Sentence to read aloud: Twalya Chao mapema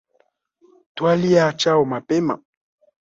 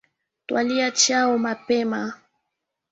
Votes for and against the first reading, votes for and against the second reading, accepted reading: 1, 2, 3, 1, second